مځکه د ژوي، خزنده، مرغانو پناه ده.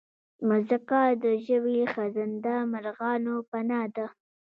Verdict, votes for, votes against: rejected, 1, 2